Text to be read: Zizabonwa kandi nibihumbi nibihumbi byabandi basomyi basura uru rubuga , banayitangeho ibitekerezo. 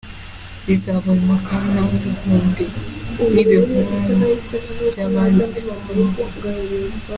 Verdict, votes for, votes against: rejected, 0, 3